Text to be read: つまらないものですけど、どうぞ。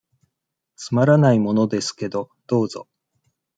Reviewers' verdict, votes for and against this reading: accepted, 2, 0